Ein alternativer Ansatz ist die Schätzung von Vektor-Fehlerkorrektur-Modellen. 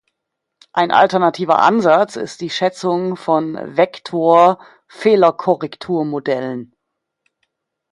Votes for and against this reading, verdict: 2, 0, accepted